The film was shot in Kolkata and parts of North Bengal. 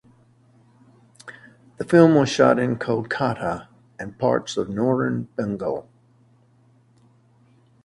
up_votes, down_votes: 2, 0